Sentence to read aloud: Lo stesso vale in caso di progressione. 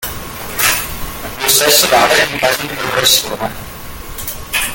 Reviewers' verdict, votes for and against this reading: rejected, 1, 2